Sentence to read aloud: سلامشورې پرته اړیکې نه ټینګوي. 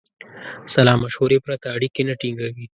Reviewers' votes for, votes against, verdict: 3, 0, accepted